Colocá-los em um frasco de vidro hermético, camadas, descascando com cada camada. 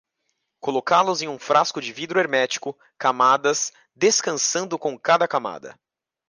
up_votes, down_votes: 1, 2